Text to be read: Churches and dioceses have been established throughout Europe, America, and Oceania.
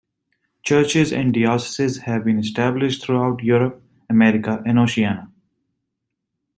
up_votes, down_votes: 0, 2